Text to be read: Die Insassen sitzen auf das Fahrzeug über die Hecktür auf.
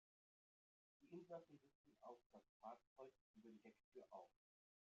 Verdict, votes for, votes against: rejected, 0, 2